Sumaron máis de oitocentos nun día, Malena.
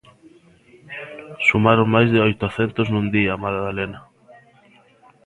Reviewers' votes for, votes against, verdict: 0, 2, rejected